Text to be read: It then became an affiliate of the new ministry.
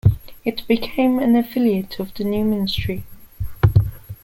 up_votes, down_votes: 1, 2